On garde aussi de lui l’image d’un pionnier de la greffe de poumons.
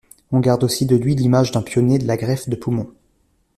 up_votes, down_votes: 2, 0